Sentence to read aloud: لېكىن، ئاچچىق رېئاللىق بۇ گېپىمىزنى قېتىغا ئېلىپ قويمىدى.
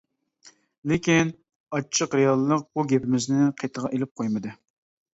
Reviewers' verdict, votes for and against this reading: accepted, 2, 0